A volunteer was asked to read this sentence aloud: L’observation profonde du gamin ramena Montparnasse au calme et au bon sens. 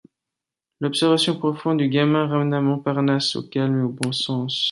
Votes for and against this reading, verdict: 2, 0, accepted